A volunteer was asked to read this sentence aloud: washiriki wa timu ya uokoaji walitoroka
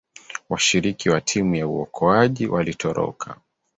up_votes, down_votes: 2, 1